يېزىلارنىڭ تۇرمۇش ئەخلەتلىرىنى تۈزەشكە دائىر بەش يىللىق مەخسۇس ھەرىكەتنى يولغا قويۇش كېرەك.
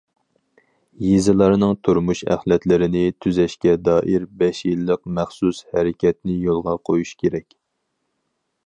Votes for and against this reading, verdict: 4, 0, accepted